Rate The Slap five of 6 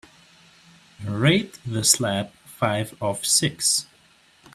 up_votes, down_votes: 0, 2